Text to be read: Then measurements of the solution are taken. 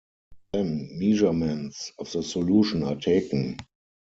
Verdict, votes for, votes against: accepted, 4, 2